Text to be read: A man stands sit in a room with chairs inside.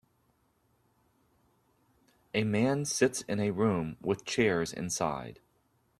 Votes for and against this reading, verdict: 0, 2, rejected